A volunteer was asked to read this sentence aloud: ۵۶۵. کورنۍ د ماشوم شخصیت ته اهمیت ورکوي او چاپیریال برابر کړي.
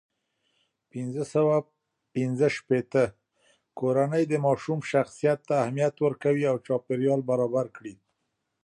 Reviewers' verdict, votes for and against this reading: rejected, 0, 2